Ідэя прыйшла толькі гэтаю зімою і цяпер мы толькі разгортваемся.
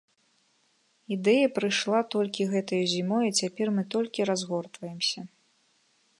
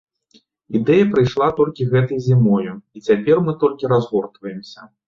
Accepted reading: first